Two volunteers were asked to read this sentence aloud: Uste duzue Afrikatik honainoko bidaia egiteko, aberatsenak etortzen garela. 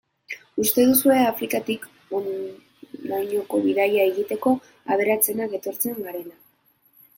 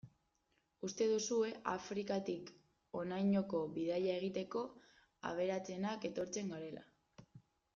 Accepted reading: second